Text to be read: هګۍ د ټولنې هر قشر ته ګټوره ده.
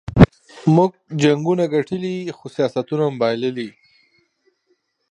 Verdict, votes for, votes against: rejected, 1, 2